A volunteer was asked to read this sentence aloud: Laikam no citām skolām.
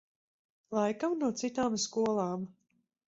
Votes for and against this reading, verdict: 4, 0, accepted